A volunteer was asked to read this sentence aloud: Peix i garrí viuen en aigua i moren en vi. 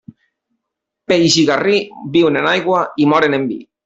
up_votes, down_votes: 2, 0